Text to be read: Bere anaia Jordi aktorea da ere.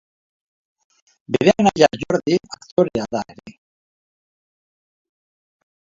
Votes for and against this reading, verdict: 0, 2, rejected